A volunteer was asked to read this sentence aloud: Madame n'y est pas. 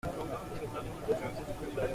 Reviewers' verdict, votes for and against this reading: rejected, 0, 2